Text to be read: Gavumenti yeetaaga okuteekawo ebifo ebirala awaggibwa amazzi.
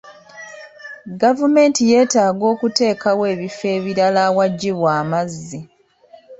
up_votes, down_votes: 2, 0